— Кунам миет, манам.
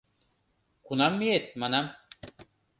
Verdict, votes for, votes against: accepted, 2, 0